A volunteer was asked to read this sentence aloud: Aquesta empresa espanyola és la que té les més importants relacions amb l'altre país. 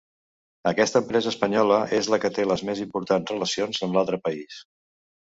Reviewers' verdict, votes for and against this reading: accepted, 3, 0